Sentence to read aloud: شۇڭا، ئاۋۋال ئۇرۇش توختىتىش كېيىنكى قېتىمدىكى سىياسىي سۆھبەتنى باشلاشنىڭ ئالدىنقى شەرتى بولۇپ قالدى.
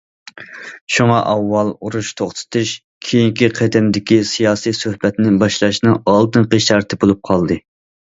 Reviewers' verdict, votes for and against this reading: accepted, 2, 0